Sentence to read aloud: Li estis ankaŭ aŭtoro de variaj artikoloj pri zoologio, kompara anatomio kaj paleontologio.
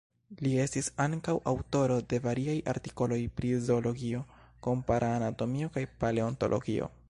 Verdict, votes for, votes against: accepted, 2, 0